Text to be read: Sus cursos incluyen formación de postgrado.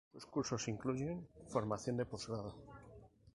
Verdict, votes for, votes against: rejected, 0, 2